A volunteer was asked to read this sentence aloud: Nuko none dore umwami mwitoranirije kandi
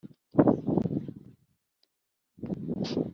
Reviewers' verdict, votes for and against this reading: rejected, 1, 3